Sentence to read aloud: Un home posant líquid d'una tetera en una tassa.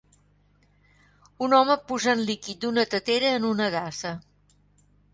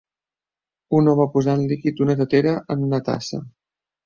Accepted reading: second